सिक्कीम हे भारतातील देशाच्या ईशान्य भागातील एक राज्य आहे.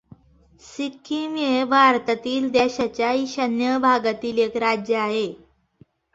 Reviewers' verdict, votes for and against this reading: accepted, 2, 0